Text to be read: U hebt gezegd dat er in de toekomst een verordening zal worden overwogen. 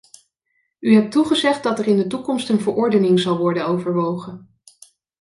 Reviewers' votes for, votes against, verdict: 1, 2, rejected